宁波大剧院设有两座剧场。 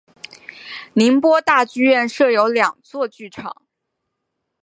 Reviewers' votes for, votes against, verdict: 4, 0, accepted